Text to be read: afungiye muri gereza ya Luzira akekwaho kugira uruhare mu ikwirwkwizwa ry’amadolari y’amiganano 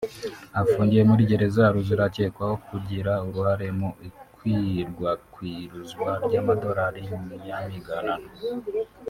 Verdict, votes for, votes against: rejected, 1, 2